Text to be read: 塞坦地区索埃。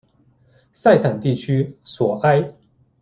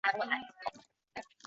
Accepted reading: first